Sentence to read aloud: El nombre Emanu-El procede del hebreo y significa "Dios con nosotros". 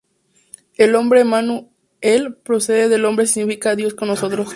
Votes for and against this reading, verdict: 0, 2, rejected